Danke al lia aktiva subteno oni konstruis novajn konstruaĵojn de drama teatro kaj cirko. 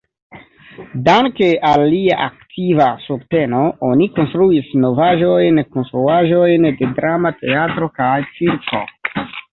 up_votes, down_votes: 0, 2